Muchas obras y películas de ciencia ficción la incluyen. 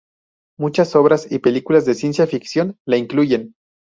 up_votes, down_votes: 6, 0